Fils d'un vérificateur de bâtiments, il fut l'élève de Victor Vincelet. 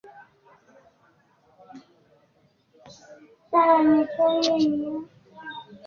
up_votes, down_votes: 0, 2